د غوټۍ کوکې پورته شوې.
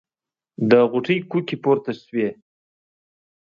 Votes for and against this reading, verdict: 2, 0, accepted